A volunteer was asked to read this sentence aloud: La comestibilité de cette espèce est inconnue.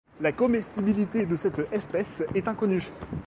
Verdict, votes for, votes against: accepted, 2, 0